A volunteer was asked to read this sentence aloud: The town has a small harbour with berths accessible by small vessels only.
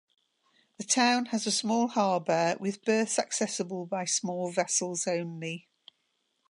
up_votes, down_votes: 2, 0